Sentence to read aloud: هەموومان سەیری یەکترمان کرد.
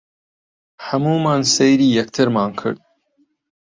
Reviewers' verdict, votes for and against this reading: accepted, 2, 0